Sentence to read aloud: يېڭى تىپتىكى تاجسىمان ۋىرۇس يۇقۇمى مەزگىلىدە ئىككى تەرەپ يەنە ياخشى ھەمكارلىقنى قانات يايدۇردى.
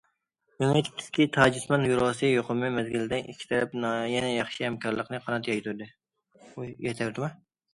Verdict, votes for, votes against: rejected, 0, 2